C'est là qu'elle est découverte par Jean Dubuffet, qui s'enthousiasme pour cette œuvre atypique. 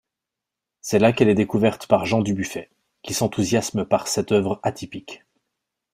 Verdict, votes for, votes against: rejected, 0, 2